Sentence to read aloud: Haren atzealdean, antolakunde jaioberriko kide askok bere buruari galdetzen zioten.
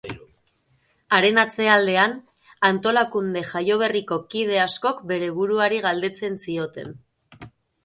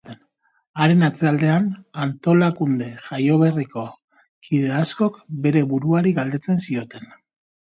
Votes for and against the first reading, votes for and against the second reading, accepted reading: 2, 2, 3, 0, second